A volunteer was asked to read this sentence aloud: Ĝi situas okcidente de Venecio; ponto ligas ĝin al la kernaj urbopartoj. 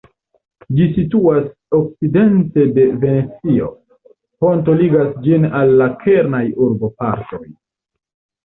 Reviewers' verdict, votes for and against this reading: rejected, 1, 2